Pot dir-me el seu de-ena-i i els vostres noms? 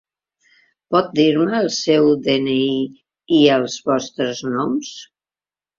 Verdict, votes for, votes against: accepted, 2, 0